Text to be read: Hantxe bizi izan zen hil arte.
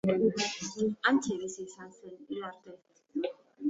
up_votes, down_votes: 1, 2